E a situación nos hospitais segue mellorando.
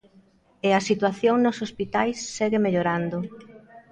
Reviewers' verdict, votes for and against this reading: accepted, 2, 1